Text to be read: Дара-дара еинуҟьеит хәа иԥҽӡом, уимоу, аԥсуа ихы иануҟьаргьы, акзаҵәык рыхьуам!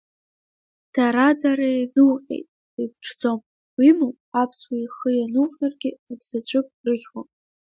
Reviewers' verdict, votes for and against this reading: rejected, 0, 2